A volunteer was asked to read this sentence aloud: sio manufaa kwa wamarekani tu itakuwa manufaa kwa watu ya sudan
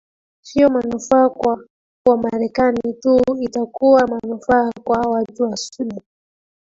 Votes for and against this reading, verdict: 2, 3, rejected